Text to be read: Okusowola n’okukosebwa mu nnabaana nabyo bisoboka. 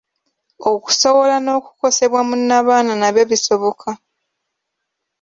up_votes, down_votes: 2, 0